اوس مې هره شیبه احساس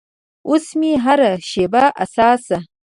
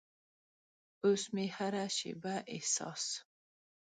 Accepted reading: second